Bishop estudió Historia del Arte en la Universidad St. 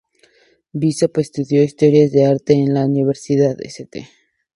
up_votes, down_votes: 2, 0